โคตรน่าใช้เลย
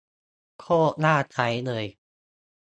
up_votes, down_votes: 2, 0